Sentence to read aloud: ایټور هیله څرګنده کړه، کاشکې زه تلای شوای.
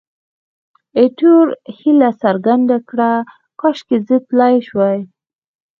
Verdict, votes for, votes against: rejected, 0, 2